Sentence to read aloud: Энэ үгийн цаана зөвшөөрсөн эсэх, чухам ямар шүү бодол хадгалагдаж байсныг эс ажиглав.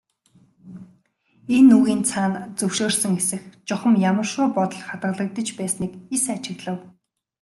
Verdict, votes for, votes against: accepted, 2, 0